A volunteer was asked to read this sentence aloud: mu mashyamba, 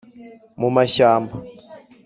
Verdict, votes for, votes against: accepted, 2, 0